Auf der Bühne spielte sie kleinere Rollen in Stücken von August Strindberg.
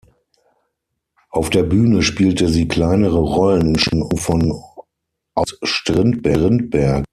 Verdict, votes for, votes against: rejected, 0, 6